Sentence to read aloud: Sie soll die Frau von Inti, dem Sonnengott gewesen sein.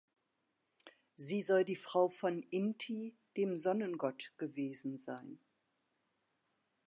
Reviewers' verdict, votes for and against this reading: rejected, 1, 2